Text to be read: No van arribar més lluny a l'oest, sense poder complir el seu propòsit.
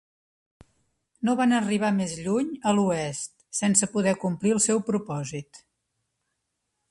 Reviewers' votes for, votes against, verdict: 2, 0, accepted